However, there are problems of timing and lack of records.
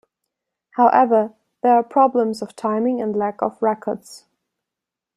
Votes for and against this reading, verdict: 2, 0, accepted